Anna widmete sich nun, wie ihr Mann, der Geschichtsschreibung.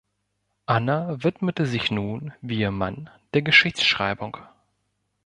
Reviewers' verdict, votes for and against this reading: accepted, 2, 0